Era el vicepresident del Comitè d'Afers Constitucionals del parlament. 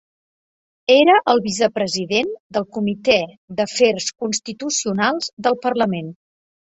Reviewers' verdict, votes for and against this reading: accepted, 3, 0